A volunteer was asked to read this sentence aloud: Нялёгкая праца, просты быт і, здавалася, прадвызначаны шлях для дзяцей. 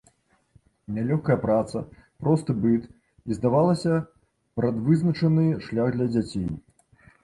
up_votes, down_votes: 1, 2